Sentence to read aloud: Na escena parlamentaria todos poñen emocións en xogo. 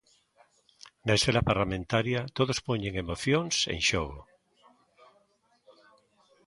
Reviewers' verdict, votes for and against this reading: accepted, 2, 0